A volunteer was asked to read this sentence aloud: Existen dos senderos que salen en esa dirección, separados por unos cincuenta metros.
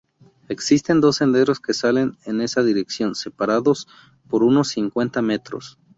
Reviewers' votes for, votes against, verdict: 4, 0, accepted